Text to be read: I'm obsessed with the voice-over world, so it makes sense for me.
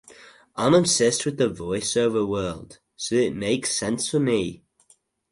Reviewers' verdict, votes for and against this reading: accepted, 2, 0